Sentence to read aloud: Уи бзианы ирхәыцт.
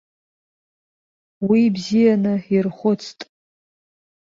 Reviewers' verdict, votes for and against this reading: accepted, 2, 0